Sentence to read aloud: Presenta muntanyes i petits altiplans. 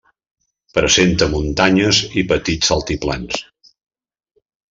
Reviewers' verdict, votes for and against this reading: rejected, 1, 2